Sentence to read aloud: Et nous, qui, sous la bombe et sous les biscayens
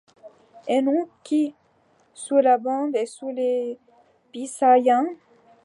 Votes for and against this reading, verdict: 0, 2, rejected